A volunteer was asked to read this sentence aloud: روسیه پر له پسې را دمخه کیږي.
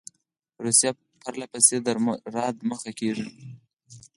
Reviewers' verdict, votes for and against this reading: accepted, 4, 2